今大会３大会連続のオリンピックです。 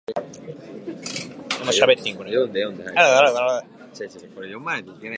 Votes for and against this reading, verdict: 0, 2, rejected